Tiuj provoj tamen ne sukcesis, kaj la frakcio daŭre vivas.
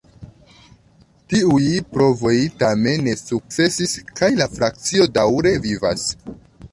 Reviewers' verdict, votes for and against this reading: rejected, 0, 2